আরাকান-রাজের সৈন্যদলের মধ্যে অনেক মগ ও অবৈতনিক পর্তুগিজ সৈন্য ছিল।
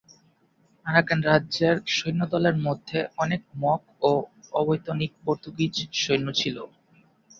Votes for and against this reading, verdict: 2, 4, rejected